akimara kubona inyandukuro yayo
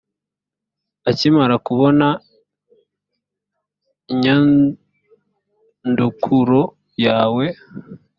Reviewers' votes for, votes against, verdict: 0, 2, rejected